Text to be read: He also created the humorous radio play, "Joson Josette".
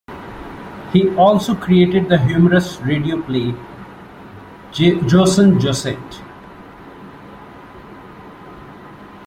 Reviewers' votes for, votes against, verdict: 0, 2, rejected